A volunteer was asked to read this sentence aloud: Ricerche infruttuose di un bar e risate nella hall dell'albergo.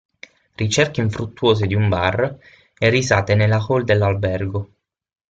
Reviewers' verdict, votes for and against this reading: rejected, 3, 6